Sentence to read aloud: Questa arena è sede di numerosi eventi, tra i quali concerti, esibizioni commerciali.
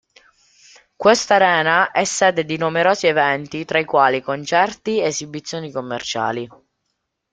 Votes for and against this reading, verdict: 2, 0, accepted